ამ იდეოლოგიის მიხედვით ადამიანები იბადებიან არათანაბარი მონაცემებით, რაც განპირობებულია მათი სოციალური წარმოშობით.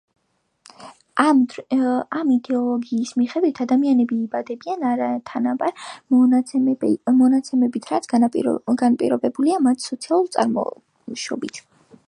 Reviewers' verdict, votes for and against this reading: rejected, 0, 2